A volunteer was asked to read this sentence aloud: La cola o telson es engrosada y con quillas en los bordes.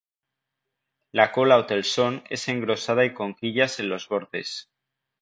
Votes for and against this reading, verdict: 2, 0, accepted